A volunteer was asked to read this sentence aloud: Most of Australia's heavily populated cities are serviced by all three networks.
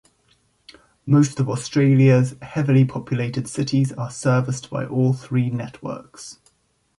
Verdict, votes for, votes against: accepted, 2, 0